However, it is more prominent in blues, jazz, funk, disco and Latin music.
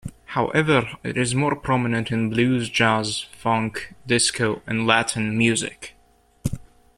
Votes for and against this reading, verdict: 1, 2, rejected